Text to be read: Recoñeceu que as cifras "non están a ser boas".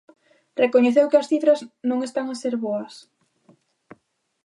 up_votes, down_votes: 2, 0